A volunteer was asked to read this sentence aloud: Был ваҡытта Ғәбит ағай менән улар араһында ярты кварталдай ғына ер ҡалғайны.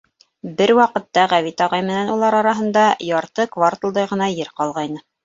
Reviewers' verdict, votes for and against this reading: rejected, 0, 2